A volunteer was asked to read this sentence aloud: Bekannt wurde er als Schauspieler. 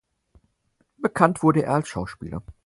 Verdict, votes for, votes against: accepted, 4, 0